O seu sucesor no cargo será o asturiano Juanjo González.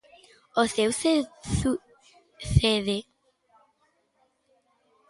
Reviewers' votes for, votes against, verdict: 0, 2, rejected